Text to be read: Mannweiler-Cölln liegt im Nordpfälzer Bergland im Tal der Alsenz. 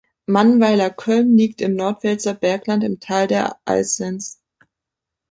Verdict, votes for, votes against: rejected, 1, 2